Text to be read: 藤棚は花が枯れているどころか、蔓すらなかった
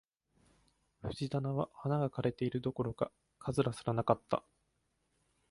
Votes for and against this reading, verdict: 0, 2, rejected